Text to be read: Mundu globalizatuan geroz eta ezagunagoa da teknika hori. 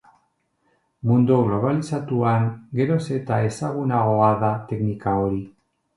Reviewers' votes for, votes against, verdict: 2, 0, accepted